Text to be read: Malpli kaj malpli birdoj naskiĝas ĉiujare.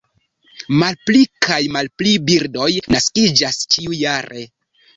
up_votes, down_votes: 1, 2